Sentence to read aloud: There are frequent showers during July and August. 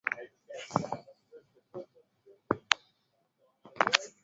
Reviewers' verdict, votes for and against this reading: rejected, 0, 2